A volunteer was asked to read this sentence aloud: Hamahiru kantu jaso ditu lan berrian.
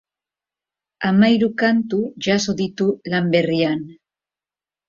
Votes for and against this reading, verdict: 3, 0, accepted